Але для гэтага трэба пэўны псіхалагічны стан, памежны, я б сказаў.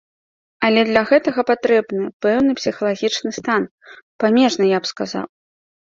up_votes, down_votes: 0, 2